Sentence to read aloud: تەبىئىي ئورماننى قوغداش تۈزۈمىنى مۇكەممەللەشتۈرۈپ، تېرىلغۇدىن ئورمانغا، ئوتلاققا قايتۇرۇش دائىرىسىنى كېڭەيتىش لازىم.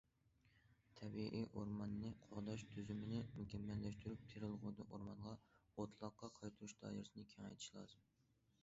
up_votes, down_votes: 2, 0